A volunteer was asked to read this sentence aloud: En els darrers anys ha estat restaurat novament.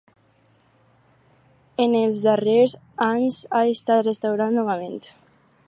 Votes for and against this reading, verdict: 4, 0, accepted